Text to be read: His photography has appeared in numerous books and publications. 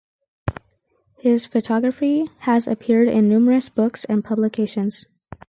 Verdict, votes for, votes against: accepted, 4, 0